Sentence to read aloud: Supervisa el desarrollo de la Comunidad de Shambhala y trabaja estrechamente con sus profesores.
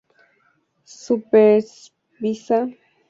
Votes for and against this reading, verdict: 0, 2, rejected